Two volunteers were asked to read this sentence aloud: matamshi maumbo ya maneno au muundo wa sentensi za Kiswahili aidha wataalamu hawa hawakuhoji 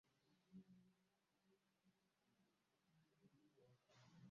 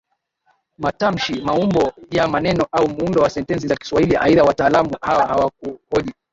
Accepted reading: second